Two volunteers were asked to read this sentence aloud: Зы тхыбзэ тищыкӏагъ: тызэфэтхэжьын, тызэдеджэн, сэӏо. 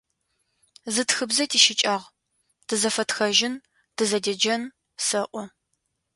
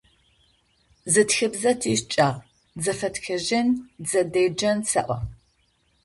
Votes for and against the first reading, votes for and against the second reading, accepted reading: 2, 0, 0, 2, first